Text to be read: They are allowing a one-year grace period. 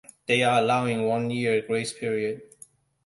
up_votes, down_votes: 2, 0